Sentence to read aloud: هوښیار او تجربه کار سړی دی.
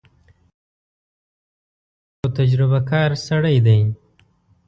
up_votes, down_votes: 1, 2